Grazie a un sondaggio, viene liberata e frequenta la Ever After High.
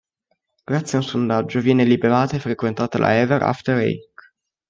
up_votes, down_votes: 0, 2